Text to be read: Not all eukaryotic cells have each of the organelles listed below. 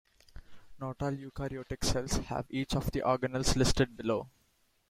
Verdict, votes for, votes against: accepted, 2, 1